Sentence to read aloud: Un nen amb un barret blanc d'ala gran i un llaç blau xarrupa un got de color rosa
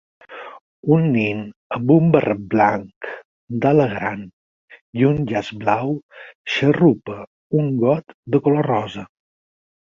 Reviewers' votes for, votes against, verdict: 6, 2, accepted